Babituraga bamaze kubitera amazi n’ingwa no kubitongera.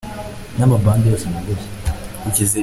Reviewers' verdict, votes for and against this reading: rejected, 0, 2